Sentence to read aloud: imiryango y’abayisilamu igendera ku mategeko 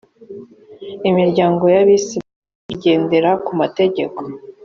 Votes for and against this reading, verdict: 1, 2, rejected